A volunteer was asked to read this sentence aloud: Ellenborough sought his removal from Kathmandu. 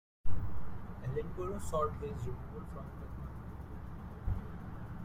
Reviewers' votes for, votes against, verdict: 2, 1, accepted